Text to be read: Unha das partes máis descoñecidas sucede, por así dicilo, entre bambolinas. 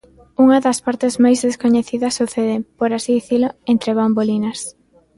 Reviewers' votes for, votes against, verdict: 2, 0, accepted